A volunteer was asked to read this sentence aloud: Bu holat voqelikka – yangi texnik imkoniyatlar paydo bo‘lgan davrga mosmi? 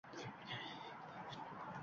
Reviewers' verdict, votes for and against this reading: rejected, 0, 2